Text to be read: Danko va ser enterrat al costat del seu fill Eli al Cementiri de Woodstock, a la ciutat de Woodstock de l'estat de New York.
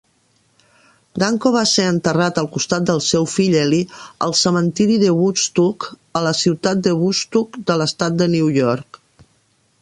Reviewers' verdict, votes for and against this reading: rejected, 0, 2